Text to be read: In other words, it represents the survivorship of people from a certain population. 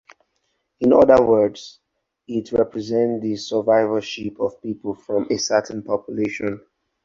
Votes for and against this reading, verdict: 2, 2, rejected